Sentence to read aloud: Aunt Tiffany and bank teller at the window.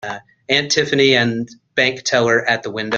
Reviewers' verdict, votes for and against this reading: rejected, 0, 2